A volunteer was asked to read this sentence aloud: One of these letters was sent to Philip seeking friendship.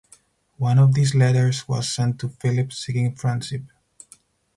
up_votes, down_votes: 2, 4